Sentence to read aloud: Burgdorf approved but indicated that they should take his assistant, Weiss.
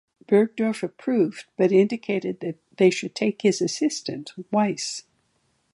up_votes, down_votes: 3, 0